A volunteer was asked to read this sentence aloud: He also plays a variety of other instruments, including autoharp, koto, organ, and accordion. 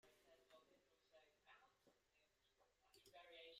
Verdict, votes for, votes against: rejected, 0, 2